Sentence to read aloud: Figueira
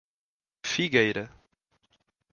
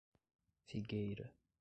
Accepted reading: first